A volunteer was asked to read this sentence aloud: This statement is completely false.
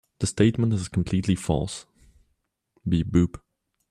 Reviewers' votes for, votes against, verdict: 1, 2, rejected